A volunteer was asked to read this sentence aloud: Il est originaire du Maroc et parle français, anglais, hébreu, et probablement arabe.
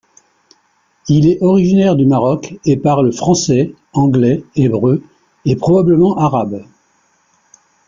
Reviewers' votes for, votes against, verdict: 3, 0, accepted